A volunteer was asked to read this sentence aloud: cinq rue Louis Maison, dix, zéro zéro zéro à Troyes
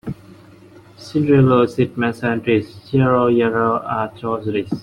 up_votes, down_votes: 0, 2